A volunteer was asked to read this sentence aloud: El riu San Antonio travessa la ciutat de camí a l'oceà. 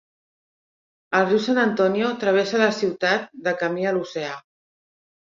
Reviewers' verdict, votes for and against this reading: rejected, 1, 2